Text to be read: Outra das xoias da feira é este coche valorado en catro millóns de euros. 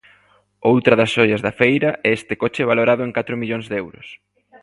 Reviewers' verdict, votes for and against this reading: accepted, 2, 0